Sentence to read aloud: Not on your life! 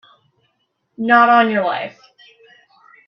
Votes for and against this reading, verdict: 2, 0, accepted